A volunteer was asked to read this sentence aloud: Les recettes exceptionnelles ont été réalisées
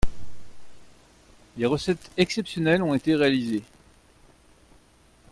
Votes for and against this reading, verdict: 2, 1, accepted